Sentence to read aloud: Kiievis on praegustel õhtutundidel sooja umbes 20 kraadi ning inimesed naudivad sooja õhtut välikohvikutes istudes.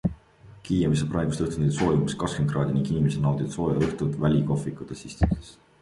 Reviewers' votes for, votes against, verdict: 0, 2, rejected